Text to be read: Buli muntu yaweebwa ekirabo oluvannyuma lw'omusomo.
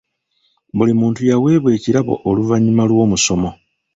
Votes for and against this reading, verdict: 1, 2, rejected